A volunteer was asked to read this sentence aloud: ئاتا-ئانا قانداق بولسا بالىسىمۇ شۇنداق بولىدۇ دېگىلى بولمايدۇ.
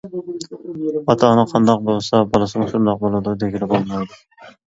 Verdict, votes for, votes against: rejected, 0, 2